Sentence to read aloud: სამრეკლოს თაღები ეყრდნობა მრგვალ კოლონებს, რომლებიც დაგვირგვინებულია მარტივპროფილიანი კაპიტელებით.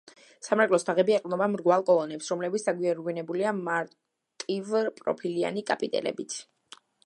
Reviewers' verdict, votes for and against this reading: rejected, 1, 2